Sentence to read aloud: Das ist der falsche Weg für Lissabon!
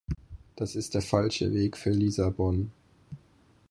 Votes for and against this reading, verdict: 2, 6, rejected